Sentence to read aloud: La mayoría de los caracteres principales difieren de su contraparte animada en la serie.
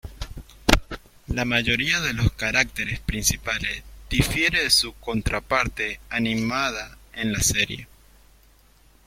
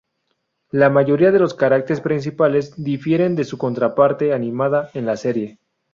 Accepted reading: second